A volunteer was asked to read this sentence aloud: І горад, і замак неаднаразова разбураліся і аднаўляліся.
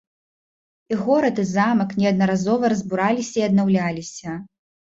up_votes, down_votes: 2, 0